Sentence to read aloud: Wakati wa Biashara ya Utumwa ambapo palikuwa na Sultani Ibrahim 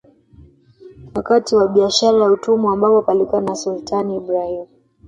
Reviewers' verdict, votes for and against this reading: rejected, 0, 2